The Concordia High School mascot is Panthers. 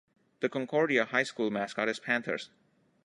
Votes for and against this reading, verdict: 2, 0, accepted